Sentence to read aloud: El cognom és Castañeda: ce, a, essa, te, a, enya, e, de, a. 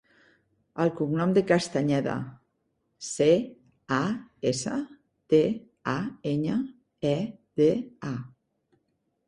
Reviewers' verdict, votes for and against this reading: rejected, 0, 3